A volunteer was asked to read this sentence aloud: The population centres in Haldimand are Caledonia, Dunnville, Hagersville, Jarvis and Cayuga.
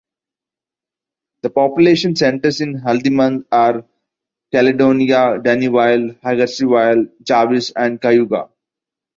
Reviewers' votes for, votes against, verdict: 2, 0, accepted